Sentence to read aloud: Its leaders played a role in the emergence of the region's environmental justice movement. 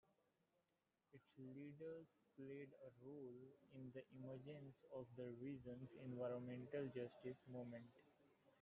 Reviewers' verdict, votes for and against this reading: rejected, 0, 2